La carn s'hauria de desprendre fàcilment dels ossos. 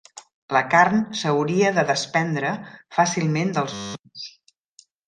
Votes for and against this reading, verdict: 0, 2, rejected